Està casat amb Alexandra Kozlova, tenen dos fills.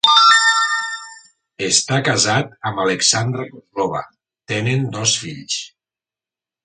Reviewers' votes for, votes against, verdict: 2, 1, accepted